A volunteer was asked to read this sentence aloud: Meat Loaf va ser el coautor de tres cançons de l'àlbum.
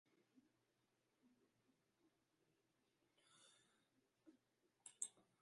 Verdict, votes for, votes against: rejected, 1, 2